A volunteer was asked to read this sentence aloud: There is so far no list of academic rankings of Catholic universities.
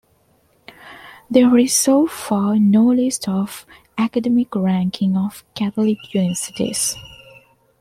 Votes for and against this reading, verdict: 1, 2, rejected